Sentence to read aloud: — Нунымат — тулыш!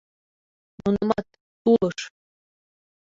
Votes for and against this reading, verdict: 0, 2, rejected